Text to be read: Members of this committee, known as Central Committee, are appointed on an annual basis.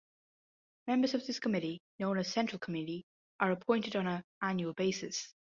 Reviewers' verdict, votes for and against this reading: accepted, 2, 0